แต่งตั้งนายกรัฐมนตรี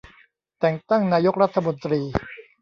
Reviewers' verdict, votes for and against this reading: rejected, 1, 2